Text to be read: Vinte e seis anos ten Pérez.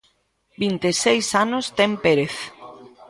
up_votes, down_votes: 1, 2